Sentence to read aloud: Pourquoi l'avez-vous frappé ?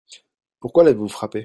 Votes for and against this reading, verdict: 0, 2, rejected